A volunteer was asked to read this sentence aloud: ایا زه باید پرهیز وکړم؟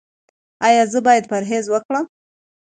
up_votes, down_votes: 2, 0